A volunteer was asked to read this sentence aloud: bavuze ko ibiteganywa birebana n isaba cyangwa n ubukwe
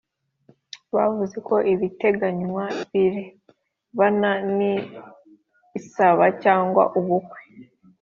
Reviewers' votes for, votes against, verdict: 2, 0, accepted